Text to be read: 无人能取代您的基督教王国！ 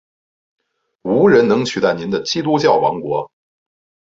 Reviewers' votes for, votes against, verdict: 2, 0, accepted